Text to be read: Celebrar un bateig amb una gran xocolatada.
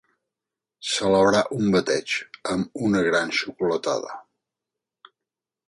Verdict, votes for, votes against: accepted, 2, 0